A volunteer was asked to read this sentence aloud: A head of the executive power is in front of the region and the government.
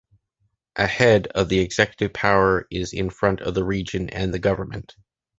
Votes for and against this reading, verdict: 2, 1, accepted